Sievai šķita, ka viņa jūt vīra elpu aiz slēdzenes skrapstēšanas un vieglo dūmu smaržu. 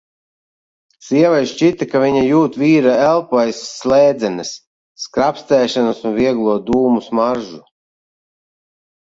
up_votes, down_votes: 0, 2